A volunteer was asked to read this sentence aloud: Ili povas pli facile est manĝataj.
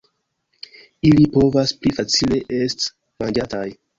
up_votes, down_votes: 2, 0